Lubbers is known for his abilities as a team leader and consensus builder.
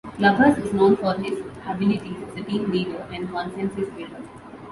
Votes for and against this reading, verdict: 0, 2, rejected